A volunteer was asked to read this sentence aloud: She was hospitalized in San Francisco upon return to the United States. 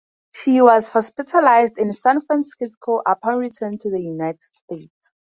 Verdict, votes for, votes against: accepted, 2, 0